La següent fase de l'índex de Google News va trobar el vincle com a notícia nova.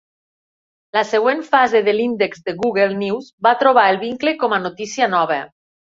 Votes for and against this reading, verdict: 3, 0, accepted